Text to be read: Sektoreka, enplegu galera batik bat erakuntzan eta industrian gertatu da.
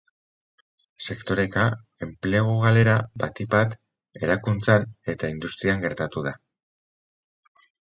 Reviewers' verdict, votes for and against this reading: accepted, 6, 0